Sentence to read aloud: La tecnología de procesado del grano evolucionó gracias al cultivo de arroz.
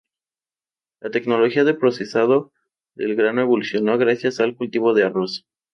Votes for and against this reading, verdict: 2, 0, accepted